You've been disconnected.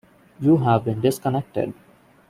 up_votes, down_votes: 1, 2